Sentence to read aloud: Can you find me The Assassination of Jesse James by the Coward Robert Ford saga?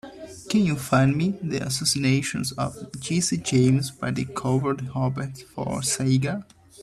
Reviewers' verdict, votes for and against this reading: rejected, 0, 2